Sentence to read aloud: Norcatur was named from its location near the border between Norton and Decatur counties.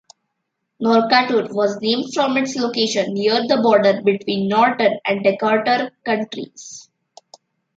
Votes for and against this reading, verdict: 0, 2, rejected